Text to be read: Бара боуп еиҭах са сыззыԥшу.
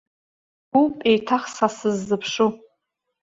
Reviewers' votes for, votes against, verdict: 1, 2, rejected